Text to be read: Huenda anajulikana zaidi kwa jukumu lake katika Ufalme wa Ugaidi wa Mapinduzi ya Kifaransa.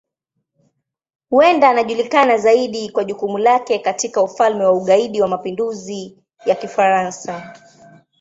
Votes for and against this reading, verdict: 2, 0, accepted